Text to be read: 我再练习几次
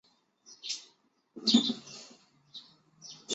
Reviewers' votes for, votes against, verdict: 0, 3, rejected